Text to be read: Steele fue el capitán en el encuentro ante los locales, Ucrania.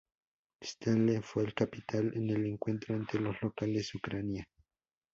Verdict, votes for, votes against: rejected, 0, 2